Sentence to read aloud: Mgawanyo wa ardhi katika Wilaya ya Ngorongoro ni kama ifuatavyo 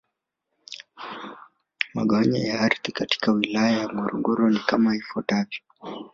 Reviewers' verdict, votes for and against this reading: accepted, 2, 0